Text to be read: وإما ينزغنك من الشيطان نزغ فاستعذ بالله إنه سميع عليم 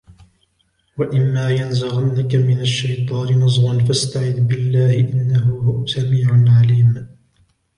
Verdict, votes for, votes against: rejected, 1, 2